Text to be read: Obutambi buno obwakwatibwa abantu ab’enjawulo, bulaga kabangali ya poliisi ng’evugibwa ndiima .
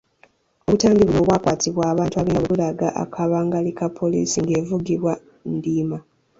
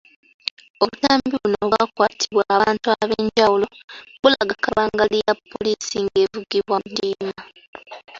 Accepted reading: second